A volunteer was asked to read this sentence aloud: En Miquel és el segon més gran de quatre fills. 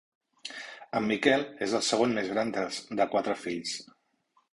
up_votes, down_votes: 0, 2